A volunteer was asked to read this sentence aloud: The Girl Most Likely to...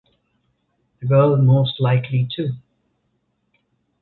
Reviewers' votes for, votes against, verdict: 1, 2, rejected